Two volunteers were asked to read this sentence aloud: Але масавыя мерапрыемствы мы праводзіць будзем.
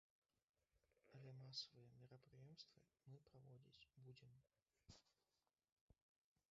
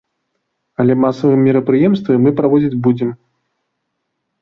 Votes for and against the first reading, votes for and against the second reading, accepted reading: 0, 2, 2, 0, second